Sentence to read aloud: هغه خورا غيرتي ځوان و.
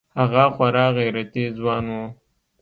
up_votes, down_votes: 2, 0